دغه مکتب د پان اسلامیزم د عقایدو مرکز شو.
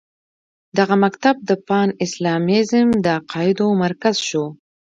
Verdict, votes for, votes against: accepted, 2, 1